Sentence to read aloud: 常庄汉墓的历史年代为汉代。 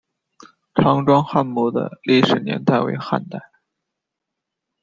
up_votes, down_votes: 1, 2